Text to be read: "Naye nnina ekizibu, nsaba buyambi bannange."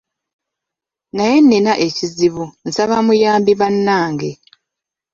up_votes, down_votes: 1, 2